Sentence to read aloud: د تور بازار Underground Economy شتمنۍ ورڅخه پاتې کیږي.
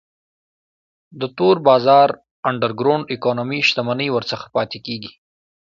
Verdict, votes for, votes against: accepted, 2, 0